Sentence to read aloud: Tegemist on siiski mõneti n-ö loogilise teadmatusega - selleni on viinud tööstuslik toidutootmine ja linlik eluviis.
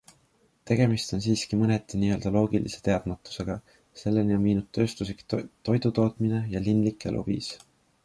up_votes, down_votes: 2, 0